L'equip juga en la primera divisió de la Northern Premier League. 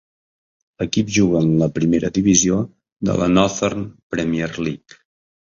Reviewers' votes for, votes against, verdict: 2, 0, accepted